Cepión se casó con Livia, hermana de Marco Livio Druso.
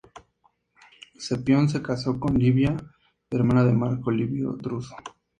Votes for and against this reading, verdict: 2, 0, accepted